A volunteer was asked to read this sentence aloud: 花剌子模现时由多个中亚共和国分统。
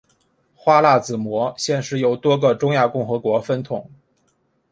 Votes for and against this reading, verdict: 5, 0, accepted